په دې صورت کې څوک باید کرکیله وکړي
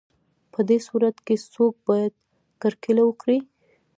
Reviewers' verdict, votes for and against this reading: rejected, 1, 2